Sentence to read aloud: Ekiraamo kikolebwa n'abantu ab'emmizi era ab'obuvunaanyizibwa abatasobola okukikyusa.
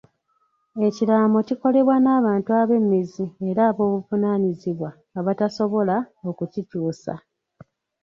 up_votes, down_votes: 2, 0